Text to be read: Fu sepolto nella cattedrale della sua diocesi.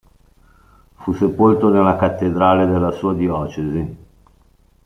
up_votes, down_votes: 2, 0